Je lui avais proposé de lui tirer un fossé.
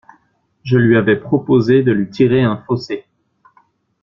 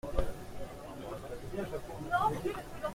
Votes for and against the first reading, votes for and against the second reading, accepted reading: 2, 0, 0, 2, first